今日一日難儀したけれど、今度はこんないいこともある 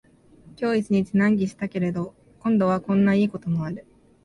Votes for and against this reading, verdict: 48, 1, accepted